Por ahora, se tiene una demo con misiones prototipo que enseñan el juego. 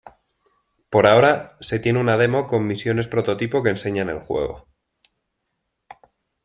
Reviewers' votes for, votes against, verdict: 2, 0, accepted